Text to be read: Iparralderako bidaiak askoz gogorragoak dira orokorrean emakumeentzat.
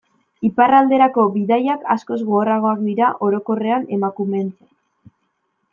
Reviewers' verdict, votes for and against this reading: rejected, 1, 2